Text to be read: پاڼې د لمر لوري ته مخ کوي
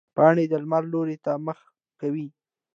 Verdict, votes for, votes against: accepted, 2, 0